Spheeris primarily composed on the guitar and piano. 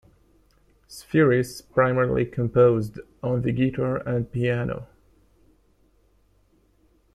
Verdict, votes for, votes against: accepted, 2, 0